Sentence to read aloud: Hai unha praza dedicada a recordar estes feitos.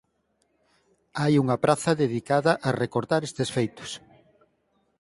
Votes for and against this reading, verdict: 4, 0, accepted